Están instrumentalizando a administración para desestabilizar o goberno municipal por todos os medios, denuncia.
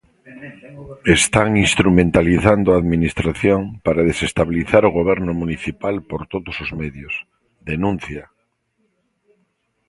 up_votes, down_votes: 0, 2